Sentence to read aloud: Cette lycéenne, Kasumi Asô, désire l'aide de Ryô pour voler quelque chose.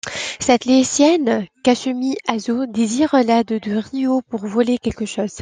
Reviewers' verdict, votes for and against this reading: accepted, 2, 1